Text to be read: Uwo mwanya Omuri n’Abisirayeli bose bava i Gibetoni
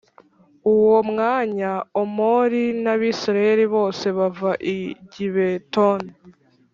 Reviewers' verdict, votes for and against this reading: rejected, 0, 2